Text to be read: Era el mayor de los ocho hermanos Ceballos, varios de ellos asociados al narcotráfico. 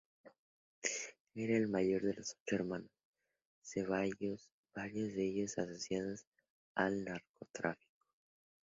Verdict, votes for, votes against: accepted, 2, 0